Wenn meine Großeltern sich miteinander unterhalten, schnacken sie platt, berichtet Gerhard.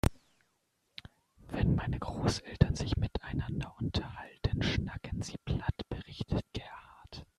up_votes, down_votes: 1, 2